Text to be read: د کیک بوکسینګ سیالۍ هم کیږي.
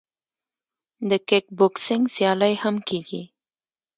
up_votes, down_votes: 2, 0